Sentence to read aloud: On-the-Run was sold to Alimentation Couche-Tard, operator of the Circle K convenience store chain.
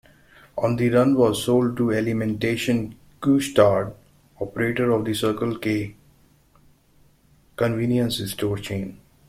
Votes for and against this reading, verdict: 1, 2, rejected